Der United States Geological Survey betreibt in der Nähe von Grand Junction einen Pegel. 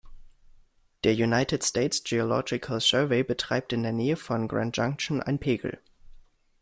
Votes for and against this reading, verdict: 1, 2, rejected